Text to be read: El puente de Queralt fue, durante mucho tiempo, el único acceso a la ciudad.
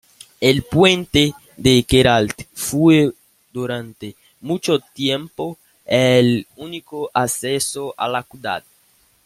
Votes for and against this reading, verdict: 1, 2, rejected